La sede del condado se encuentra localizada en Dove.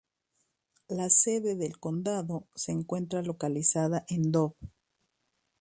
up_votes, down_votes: 2, 0